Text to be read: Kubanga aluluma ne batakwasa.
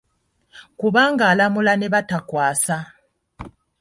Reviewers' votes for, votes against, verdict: 0, 2, rejected